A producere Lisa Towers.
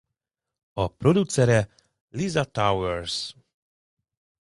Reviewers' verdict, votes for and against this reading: accepted, 2, 0